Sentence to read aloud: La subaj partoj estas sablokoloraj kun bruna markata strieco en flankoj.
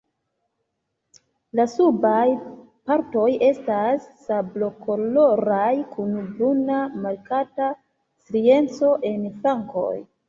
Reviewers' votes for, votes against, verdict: 0, 2, rejected